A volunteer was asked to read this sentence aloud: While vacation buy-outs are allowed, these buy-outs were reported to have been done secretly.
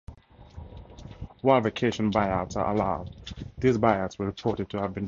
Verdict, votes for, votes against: rejected, 0, 2